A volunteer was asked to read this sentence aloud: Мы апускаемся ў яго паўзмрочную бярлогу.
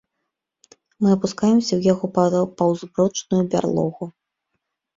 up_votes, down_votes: 0, 2